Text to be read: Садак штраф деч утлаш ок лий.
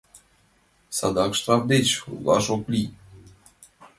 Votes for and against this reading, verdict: 2, 0, accepted